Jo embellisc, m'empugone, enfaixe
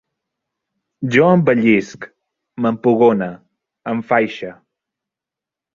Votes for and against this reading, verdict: 3, 0, accepted